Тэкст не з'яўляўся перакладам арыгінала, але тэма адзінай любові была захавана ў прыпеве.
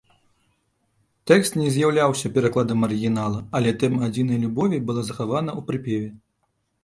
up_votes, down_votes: 2, 0